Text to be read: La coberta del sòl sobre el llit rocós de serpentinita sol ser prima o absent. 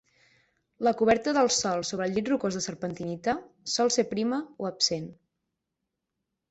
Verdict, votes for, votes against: accepted, 9, 0